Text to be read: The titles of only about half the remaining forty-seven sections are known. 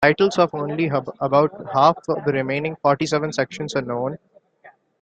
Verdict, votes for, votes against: accepted, 2, 0